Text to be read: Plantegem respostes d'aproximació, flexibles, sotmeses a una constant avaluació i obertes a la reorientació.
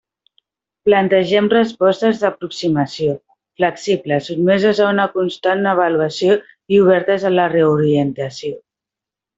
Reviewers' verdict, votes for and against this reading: accepted, 2, 1